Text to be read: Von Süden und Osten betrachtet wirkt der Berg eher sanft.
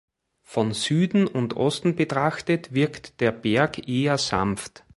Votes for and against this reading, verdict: 2, 0, accepted